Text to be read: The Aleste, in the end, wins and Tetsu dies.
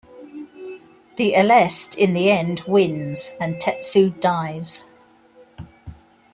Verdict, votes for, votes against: accepted, 2, 0